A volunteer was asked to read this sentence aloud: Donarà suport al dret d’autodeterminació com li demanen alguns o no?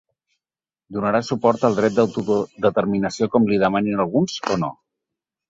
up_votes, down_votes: 0, 4